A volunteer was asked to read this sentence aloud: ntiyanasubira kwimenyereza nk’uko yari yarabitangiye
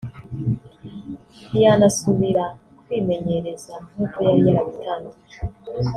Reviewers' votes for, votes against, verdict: 0, 2, rejected